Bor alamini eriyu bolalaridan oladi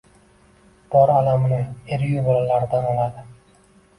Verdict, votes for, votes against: rejected, 1, 2